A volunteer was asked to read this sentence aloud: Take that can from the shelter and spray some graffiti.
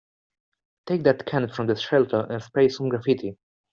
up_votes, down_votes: 2, 0